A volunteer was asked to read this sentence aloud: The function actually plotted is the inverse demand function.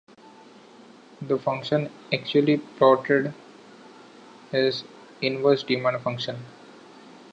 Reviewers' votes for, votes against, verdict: 2, 0, accepted